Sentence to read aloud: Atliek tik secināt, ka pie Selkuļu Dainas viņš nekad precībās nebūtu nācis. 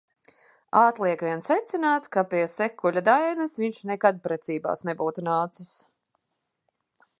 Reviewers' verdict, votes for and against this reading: rejected, 0, 2